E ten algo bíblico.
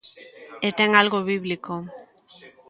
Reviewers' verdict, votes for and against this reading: rejected, 1, 2